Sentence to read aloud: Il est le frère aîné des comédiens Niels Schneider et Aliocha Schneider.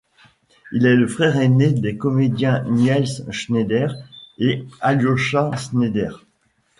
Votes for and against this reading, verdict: 1, 2, rejected